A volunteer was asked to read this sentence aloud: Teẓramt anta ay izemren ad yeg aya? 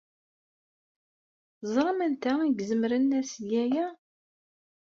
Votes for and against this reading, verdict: 1, 2, rejected